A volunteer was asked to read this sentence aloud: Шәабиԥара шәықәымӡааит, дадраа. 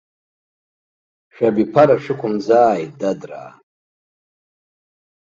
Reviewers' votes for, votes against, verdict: 2, 0, accepted